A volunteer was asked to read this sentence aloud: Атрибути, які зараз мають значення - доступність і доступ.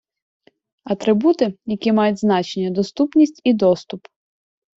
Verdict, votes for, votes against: rejected, 0, 2